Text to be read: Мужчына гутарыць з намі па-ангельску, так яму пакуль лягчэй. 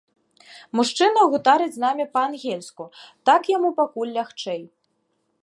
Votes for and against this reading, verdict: 2, 0, accepted